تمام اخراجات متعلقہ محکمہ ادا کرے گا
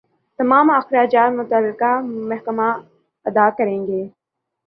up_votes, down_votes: 2, 0